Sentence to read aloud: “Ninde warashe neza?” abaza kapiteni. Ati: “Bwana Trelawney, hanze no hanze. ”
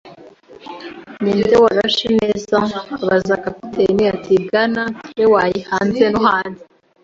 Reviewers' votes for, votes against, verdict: 2, 0, accepted